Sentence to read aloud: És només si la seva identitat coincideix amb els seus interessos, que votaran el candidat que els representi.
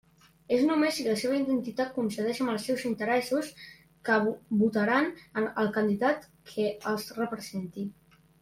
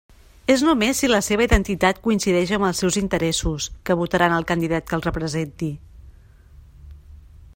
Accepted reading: second